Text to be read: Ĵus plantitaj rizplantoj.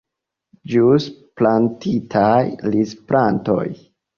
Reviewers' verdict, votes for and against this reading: accepted, 2, 0